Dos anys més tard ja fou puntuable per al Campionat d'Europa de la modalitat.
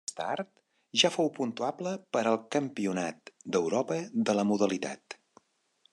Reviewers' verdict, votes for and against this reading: rejected, 1, 2